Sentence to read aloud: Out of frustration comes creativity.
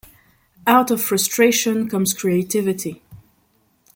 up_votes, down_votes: 2, 0